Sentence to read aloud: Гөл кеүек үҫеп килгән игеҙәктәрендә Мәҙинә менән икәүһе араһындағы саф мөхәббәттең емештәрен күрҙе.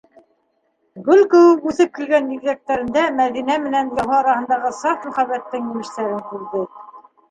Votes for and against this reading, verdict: 1, 2, rejected